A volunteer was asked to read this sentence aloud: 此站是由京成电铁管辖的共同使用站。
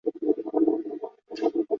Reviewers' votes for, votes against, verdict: 0, 3, rejected